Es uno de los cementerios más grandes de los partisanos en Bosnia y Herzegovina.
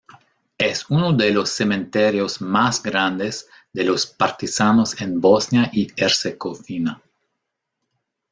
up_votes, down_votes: 2, 1